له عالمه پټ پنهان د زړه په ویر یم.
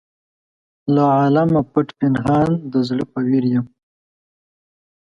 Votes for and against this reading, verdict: 2, 0, accepted